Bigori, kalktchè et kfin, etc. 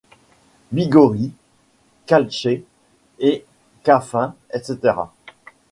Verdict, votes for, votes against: rejected, 1, 2